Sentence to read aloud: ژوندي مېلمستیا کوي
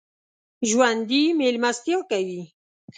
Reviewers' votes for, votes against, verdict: 2, 1, accepted